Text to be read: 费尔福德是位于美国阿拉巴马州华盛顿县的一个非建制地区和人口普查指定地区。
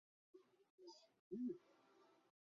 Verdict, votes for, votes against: rejected, 0, 2